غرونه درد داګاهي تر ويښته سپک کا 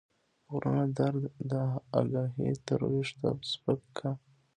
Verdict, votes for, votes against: rejected, 0, 2